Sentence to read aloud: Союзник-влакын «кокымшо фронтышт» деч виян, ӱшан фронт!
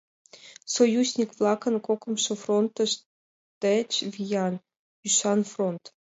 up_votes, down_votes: 2, 0